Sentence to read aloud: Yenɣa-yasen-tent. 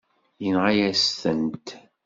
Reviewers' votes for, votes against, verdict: 1, 2, rejected